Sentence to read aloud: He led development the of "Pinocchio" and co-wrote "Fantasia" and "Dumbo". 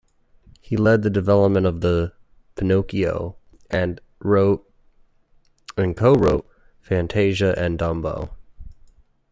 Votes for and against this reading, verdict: 0, 2, rejected